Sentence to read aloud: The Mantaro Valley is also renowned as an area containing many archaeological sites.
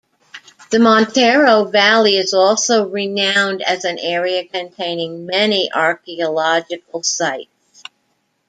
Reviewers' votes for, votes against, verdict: 0, 2, rejected